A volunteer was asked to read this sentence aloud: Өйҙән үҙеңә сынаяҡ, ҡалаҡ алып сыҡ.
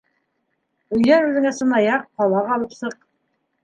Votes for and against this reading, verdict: 3, 0, accepted